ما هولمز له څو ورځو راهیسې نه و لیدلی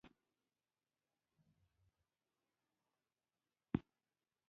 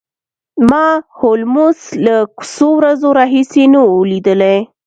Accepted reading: second